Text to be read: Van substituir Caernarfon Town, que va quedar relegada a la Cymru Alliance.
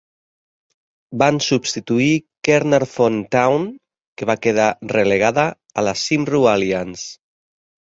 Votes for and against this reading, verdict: 2, 0, accepted